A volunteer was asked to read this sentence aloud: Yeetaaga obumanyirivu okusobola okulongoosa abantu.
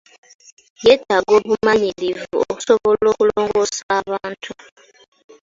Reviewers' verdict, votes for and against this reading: accepted, 2, 1